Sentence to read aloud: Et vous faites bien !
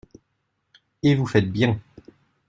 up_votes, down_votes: 2, 0